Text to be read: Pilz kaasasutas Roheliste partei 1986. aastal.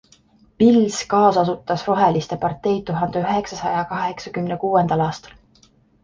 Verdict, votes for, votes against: rejected, 0, 2